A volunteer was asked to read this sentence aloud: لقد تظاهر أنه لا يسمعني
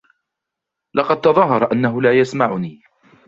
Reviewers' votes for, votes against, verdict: 2, 0, accepted